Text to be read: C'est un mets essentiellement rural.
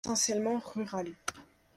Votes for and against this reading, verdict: 0, 3, rejected